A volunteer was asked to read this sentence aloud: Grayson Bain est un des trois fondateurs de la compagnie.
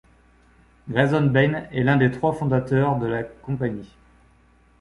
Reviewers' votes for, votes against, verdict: 0, 2, rejected